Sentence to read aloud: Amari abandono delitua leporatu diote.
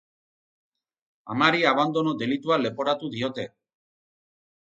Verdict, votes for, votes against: accepted, 8, 0